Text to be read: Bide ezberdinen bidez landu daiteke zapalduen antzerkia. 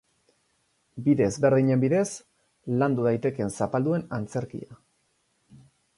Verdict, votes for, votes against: accepted, 4, 0